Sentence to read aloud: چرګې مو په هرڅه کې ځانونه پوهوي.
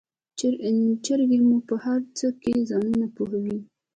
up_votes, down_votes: 1, 2